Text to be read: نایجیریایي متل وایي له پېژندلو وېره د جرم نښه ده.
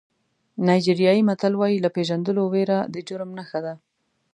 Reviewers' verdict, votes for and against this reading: accepted, 2, 0